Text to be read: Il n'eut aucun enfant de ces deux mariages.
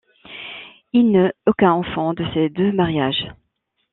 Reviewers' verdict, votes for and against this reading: rejected, 1, 2